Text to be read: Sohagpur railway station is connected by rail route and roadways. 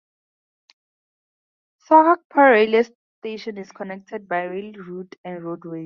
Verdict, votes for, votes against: accepted, 2, 0